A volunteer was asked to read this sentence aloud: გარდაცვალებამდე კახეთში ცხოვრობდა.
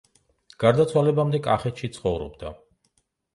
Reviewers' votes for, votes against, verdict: 2, 0, accepted